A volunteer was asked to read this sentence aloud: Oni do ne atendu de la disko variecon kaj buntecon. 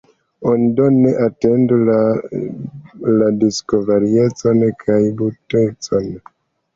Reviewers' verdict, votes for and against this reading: accepted, 2, 1